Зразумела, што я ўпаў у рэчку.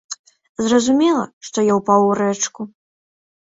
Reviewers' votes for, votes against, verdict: 2, 0, accepted